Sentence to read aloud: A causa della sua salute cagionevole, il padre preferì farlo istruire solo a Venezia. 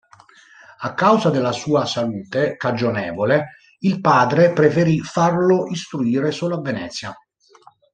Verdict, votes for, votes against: accepted, 2, 0